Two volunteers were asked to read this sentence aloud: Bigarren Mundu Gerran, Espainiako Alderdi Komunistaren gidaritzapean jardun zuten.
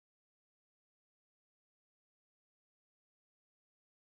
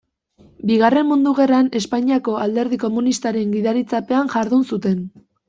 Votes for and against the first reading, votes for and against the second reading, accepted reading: 0, 2, 2, 0, second